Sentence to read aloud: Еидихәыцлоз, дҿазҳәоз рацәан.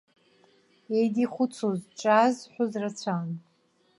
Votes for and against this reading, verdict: 1, 2, rejected